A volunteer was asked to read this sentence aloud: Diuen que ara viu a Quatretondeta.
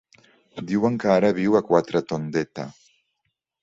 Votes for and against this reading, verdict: 3, 0, accepted